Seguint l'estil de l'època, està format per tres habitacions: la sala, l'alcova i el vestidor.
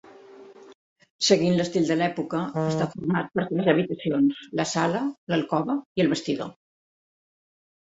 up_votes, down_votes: 0, 4